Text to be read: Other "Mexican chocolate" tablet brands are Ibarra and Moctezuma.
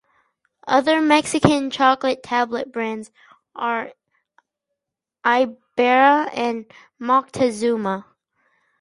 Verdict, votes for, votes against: rejected, 0, 2